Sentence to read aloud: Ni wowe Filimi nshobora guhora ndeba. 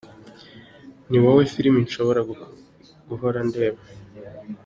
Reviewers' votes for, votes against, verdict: 2, 0, accepted